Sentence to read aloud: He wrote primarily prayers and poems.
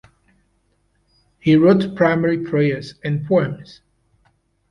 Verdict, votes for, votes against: accepted, 2, 0